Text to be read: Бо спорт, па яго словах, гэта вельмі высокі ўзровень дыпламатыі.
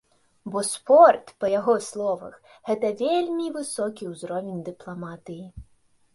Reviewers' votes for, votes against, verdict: 2, 0, accepted